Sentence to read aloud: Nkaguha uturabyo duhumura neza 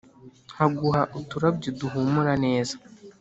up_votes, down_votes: 2, 0